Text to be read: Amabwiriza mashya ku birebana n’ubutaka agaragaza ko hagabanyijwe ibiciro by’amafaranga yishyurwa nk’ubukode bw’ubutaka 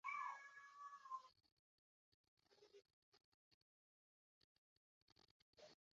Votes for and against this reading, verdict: 0, 2, rejected